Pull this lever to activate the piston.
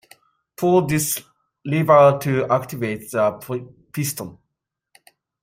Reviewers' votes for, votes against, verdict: 2, 1, accepted